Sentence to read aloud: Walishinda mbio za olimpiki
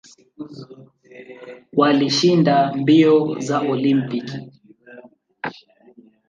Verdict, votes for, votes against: rejected, 0, 2